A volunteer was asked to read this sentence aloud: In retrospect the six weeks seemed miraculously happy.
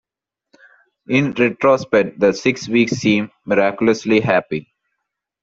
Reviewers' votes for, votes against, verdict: 2, 1, accepted